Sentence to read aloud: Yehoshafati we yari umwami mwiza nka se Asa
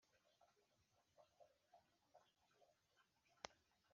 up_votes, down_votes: 2, 3